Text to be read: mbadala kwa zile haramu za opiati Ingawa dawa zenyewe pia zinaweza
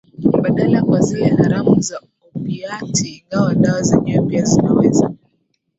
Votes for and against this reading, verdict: 0, 2, rejected